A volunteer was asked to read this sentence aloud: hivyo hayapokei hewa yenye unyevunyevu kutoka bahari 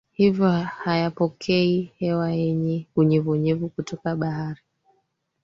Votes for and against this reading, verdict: 2, 1, accepted